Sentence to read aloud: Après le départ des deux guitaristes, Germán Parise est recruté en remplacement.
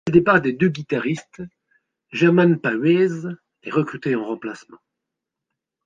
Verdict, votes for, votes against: rejected, 0, 2